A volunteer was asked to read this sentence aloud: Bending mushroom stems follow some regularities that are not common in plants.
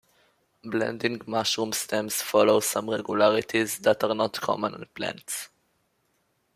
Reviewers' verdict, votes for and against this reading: rejected, 0, 2